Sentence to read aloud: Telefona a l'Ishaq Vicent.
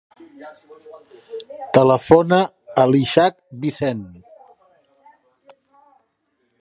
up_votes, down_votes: 0, 3